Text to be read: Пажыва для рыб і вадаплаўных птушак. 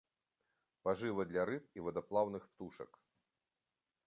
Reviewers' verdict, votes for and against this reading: accepted, 3, 1